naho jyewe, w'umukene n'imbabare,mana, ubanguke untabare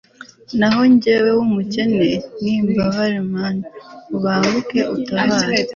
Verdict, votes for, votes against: accepted, 2, 0